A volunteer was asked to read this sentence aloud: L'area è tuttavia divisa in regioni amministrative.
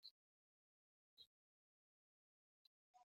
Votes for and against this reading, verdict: 0, 2, rejected